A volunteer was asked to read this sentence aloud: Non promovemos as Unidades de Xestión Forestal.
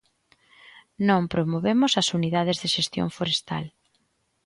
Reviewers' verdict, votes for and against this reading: accepted, 2, 0